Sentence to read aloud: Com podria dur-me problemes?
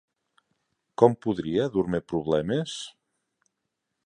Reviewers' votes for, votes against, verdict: 2, 0, accepted